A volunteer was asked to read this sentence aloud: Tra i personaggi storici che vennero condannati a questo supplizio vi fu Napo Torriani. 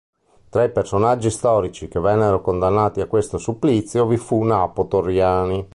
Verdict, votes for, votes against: accepted, 2, 0